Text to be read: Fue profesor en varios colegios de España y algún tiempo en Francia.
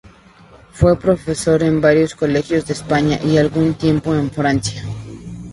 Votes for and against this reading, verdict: 2, 0, accepted